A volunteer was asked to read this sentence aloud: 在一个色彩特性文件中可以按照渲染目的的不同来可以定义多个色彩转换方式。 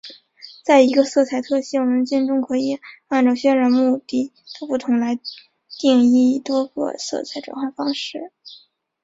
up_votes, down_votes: 3, 3